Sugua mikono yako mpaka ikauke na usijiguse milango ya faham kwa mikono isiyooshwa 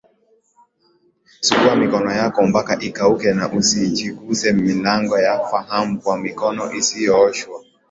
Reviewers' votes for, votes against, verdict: 17, 2, accepted